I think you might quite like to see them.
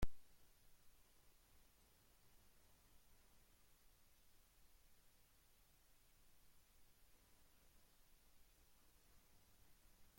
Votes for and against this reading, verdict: 0, 2, rejected